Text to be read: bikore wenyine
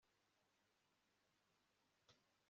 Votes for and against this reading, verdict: 0, 2, rejected